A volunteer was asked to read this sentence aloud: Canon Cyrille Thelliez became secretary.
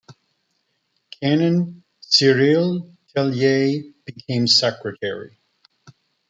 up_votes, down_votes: 0, 2